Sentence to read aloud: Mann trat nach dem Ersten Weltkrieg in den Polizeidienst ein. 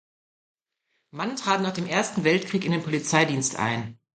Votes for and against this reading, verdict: 2, 0, accepted